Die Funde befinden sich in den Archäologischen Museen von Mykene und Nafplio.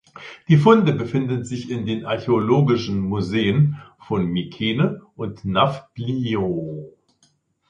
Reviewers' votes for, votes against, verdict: 1, 2, rejected